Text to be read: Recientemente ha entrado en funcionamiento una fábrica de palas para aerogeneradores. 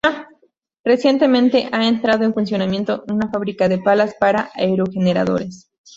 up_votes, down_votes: 0, 2